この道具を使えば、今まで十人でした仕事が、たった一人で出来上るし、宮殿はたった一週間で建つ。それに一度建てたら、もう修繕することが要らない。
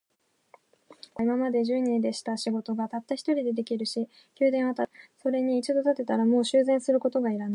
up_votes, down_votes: 1, 2